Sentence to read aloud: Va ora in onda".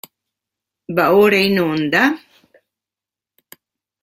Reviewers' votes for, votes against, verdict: 2, 0, accepted